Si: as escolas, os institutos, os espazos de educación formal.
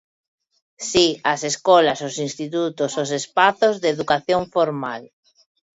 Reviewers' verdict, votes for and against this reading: accepted, 2, 0